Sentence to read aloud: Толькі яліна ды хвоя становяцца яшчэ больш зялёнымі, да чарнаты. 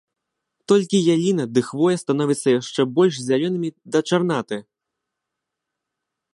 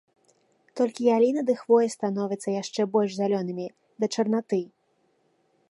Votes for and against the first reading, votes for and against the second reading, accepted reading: 0, 2, 2, 0, second